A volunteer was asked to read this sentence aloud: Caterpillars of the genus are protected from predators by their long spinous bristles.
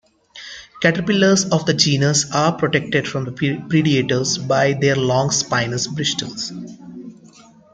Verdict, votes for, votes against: rejected, 0, 2